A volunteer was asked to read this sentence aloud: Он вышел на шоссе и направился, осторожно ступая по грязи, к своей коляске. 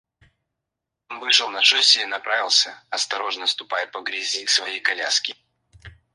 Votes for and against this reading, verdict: 2, 4, rejected